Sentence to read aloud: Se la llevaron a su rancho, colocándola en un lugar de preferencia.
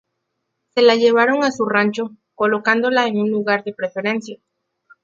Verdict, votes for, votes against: accepted, 2, 0